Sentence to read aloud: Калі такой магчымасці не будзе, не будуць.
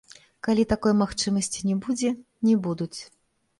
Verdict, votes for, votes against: rejected, 1, 2